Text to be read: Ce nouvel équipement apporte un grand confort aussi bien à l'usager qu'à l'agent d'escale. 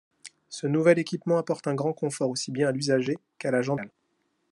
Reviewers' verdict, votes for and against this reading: rejected, 0, 2